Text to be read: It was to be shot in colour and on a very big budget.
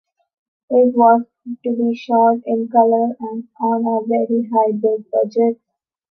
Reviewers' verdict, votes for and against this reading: rejected, 0, 2